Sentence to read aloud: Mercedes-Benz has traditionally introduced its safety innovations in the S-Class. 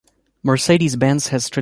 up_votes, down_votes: 0, 2